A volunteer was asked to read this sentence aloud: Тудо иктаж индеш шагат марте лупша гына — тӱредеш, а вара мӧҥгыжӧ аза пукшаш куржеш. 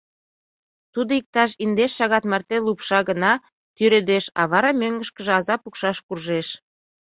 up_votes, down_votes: 1, 2